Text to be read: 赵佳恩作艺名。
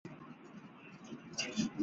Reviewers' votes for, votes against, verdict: 2, 0, accepted